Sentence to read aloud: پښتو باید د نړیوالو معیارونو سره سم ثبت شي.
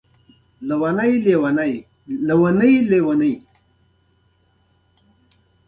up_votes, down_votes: 2, 1